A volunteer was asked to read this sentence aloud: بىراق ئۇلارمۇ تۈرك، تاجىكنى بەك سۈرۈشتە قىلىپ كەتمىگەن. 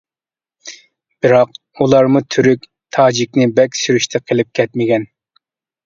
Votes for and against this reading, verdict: 2, 0, accepted